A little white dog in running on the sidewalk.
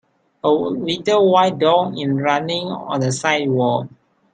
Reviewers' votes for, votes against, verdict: 0, 2, rejected